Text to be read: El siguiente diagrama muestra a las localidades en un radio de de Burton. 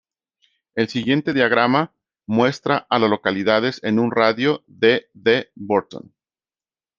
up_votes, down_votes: 1, 2